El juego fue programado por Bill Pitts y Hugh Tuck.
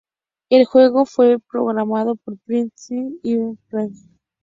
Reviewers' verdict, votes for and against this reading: rejected, 0, 2